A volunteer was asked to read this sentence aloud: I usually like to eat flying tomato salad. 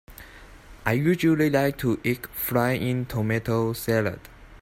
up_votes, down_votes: 2, 4